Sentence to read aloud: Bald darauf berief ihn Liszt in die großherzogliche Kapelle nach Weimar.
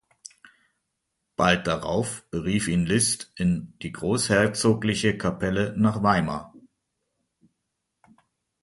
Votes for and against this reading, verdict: 2, 0, accepted